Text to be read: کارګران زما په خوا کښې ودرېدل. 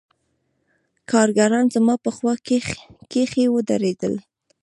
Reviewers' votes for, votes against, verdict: 1, 2, rejected